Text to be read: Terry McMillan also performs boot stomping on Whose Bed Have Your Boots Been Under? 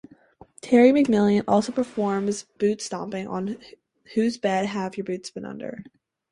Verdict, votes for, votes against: accepted, 2, 0